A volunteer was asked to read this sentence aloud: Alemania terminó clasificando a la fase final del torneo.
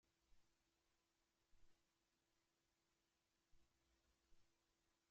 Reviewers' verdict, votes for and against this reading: rejected, 0, 3